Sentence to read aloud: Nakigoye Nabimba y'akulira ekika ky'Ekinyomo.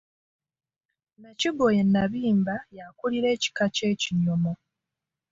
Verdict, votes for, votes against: rejected, 1, 2